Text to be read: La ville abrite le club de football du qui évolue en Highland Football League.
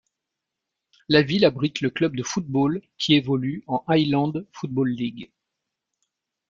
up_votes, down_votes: 1, 2